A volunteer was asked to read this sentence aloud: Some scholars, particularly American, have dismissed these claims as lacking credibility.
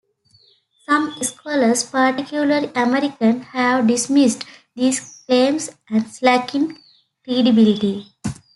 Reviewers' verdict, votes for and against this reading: accepted, 2, 0